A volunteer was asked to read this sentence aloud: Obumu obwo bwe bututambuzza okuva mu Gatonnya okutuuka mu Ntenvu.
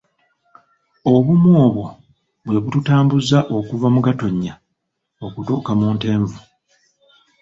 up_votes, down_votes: 2, 1